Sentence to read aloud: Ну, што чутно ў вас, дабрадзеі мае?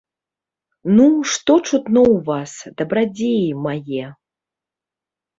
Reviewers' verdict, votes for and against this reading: accepted, 2, 0